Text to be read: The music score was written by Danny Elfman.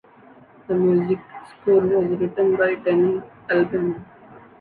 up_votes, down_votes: 0, 2